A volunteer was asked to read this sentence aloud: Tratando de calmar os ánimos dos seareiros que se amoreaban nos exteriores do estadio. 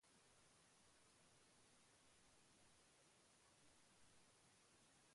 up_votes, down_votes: 0, 3